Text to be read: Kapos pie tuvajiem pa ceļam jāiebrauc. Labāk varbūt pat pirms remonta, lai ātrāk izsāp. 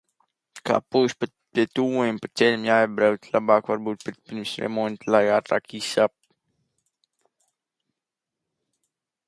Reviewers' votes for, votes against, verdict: 0, 2, rejected